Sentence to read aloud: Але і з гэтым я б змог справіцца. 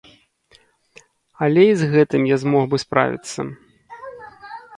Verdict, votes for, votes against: rejected, 0, 2